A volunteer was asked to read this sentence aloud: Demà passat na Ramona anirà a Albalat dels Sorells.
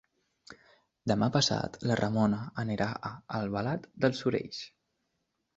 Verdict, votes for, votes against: accepted, 2, 0